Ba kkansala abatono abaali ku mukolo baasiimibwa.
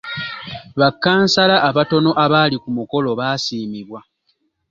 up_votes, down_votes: 2, 0